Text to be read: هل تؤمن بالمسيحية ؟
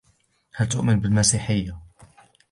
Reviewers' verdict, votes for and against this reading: rejected, 1, 2